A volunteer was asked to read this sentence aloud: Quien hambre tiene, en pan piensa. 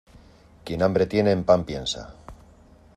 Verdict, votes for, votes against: accepted, 2, 0